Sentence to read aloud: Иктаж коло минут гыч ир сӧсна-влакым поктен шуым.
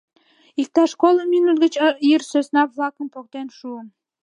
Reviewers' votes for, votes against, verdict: 1, 2, rejected